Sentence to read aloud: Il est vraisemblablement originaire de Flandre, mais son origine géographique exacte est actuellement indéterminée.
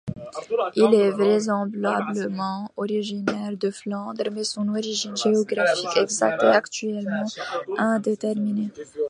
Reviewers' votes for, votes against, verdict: 1, 2, rejected